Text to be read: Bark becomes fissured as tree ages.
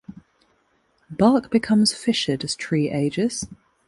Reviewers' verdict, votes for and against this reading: accepted, 2, 0